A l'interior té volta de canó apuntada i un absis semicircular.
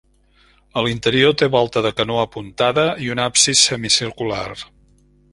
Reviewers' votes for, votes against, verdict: 3, 0, accepted